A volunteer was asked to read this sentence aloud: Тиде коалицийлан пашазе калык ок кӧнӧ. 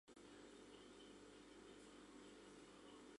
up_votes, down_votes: 2, 0